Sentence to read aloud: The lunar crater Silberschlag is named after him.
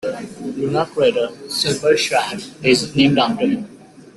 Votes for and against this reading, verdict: 2, 1, accepted